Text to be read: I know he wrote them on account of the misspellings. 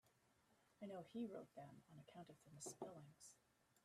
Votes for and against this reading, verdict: 1, 2, rejected